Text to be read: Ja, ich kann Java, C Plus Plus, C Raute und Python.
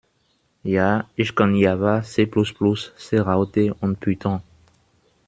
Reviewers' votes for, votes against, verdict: 1, 2, rejected